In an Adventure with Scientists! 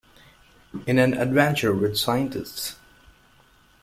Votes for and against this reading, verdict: 2, 0, accepted